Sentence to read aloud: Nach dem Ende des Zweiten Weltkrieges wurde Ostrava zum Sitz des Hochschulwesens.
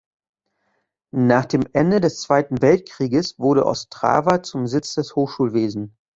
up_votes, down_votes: 0, 2